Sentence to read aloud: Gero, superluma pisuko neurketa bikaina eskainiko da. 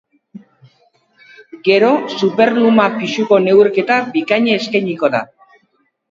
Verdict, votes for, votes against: accepted, 4, 0